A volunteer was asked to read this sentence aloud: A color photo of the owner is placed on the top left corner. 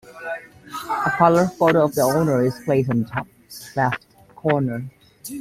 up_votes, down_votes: 1, 2